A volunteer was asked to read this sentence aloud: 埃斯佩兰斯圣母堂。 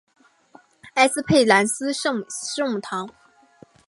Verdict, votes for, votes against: accepted, 4, 1